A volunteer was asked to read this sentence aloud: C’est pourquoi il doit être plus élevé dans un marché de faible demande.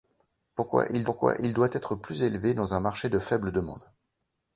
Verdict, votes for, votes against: rejected, 0, 2